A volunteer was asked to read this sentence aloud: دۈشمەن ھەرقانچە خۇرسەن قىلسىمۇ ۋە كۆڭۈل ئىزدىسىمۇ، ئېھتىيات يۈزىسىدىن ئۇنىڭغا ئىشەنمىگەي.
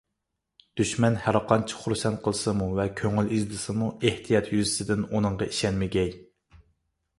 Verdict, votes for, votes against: accepted, 2, 0